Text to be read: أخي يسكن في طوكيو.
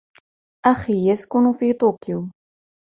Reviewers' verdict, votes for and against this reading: accepted, 2, 0